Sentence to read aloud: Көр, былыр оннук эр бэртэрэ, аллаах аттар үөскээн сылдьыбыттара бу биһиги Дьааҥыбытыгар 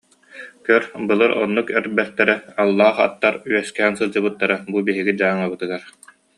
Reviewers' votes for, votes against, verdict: 2, 0, accepted